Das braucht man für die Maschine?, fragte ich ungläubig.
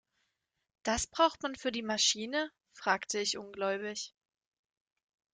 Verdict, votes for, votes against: accepted, 3, 1